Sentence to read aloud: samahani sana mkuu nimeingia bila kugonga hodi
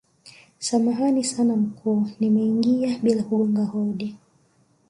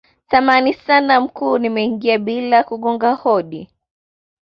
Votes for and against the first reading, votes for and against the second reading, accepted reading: 0, 2, 2, 0, second